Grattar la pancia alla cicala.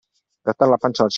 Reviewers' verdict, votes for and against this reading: rejected, 1, 2